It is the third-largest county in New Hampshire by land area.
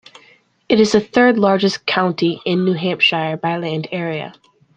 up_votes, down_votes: 2, 0